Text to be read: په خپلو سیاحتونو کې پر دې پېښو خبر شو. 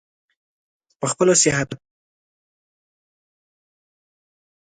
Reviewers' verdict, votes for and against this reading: rejected, 0, 2